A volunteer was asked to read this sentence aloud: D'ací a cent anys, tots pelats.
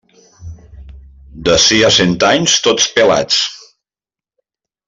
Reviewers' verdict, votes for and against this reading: accepted, 2, 0